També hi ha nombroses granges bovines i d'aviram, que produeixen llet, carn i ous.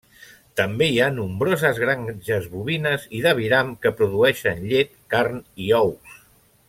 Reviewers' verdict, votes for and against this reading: rejected, 0, 2